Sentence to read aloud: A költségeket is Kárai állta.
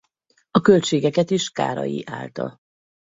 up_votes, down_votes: 4, 0